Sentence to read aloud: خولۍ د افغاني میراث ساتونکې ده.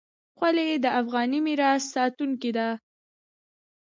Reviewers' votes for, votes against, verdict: 2, 0, accepted